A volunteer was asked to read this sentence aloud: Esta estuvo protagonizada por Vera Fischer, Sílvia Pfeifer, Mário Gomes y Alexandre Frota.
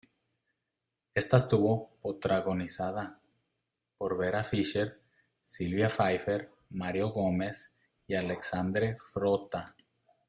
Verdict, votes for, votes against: rejected, 0, 2